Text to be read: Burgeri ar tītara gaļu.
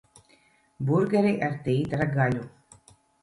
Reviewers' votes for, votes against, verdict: 1, 2, rejected